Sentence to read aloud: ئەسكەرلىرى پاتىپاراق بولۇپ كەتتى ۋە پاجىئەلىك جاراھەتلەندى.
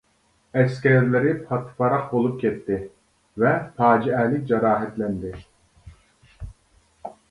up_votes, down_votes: 2, 0